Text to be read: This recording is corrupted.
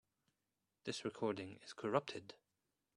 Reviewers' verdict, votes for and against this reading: accepted, 2, 0